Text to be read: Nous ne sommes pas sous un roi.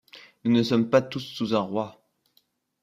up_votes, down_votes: 1, 2